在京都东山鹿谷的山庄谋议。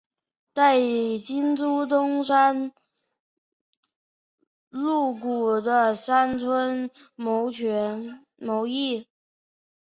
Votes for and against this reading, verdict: 0, 6, rejected